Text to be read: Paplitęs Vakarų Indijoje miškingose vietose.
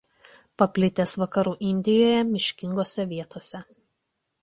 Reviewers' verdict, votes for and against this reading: accepted, 2, 0